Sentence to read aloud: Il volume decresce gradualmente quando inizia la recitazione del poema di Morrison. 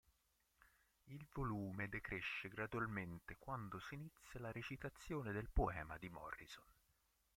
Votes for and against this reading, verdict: 0, 2, rejected